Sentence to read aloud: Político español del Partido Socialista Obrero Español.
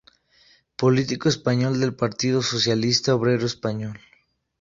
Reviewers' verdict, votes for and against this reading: accepted, 2, 0